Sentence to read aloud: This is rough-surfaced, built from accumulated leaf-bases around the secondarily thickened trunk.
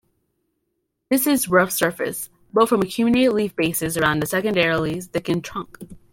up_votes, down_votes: 2, 1